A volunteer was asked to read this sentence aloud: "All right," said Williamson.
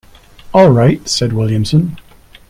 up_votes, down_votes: 2, 0